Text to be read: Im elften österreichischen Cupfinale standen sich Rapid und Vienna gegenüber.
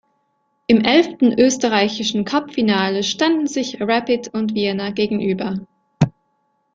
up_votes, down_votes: 1, 2